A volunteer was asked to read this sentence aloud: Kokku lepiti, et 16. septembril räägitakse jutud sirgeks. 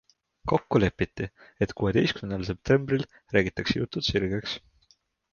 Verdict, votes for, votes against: rejected, 0, 2